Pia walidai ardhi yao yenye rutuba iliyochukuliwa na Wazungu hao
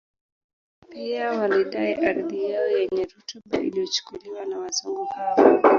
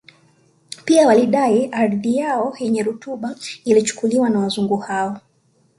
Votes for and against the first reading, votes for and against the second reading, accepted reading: 0, 2, 2, 1, second